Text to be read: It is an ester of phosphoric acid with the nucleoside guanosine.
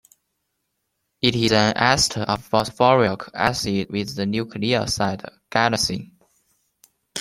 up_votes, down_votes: 2, 0